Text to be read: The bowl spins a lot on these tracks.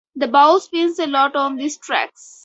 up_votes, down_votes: 4, 0